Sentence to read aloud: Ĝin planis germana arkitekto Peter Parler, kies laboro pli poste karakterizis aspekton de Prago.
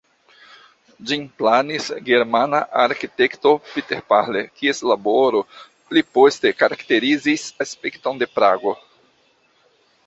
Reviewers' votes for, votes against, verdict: 0, 2, rejected